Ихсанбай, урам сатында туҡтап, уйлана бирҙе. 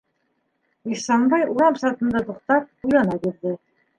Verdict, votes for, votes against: accepted, 2, 0